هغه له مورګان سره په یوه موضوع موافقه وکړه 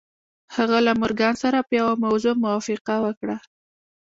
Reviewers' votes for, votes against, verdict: 0, 2, rejected